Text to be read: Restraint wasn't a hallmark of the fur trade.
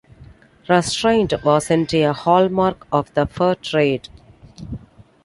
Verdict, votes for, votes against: accepted, 2, 0